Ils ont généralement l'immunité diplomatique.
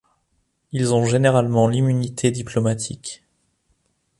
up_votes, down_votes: 2, 0